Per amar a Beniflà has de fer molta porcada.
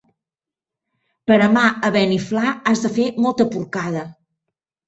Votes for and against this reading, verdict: 2, 0, accepted